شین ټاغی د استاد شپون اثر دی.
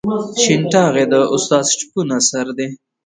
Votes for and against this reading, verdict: 1, 2, rejected